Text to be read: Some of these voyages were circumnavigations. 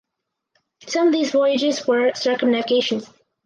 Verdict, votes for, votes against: rejected, 2, 2